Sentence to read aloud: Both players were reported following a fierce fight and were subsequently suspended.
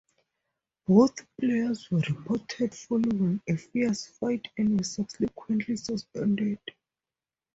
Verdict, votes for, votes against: accepted, 4, 0